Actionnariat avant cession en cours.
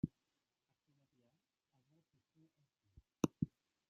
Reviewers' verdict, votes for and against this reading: rejected, 1, 2